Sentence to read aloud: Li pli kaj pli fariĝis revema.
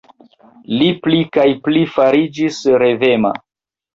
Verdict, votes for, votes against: rejected, 1, 2